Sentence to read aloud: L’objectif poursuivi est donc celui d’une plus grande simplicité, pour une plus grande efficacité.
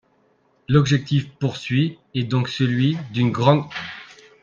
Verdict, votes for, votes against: rejected, 0, 3